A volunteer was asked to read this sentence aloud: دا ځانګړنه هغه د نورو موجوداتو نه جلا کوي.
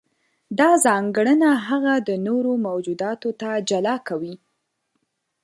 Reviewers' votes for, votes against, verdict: 1, 2, rejected